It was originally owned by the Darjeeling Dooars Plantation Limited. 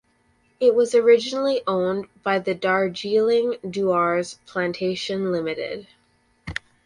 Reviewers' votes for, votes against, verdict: 2, 2, rejected